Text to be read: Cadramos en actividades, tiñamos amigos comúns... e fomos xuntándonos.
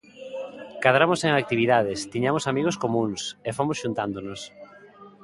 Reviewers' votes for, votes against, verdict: 2, 0, accepted